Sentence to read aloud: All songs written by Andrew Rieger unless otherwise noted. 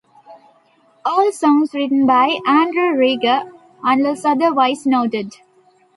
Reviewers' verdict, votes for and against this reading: accepted, 2, 0